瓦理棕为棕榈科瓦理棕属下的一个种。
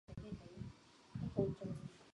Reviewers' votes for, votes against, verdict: 1, 2, rejected